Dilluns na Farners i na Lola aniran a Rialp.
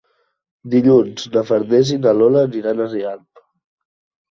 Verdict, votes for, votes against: accepted, 3, 0